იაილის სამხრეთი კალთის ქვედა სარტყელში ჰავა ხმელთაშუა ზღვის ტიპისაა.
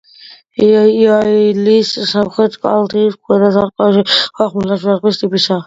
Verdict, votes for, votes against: rejected, 1, 2